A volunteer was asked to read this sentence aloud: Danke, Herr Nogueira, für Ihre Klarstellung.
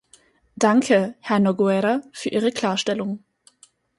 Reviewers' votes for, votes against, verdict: 4, 0, accepted